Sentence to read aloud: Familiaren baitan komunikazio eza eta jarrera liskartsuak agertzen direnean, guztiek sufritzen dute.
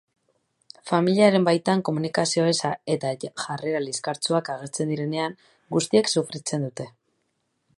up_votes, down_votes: 2, 2